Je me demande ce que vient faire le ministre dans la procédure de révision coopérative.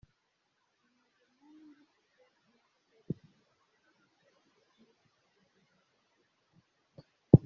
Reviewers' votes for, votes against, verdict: 0, 2, rejected